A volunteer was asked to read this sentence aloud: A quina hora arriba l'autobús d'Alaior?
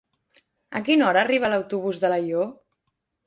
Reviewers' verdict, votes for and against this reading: accepted, 2, 0